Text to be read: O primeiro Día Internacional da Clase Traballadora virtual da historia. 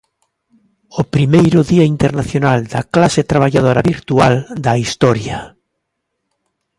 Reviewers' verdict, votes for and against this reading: accepted, 2, 0